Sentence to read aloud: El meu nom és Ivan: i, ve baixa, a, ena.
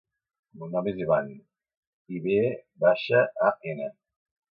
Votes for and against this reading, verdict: 0, 2, rejected